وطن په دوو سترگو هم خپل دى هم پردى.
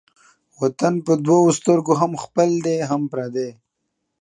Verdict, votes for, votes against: accepted, 2, 0